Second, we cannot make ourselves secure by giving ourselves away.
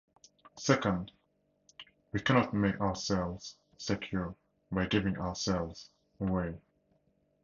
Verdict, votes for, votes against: accepted, 4, 0